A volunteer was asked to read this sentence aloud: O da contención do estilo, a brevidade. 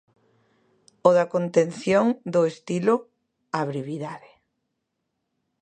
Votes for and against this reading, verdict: 2, 0, accepted